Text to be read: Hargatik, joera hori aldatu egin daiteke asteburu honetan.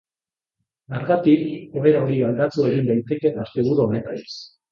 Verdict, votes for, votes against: rejected, 0, 2